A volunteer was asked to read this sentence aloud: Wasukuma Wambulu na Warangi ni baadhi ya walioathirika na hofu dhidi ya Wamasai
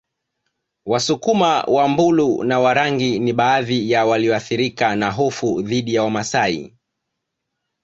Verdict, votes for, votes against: accepted, 2, 0